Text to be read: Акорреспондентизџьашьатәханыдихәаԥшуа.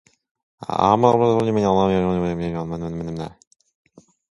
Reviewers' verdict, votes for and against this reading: rejected, 0, 2